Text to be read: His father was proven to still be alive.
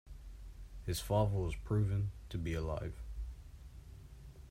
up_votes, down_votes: 0, 2